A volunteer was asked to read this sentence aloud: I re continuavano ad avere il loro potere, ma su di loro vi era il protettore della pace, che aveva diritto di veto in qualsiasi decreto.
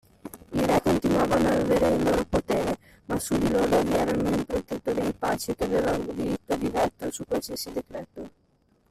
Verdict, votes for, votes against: rejected, 0, 2